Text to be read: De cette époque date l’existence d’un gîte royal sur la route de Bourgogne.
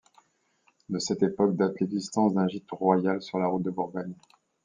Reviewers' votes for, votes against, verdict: 2, 0, accepted